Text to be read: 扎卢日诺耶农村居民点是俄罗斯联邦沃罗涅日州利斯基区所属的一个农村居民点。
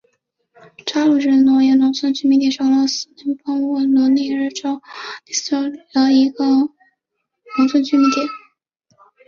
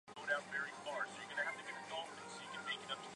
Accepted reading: first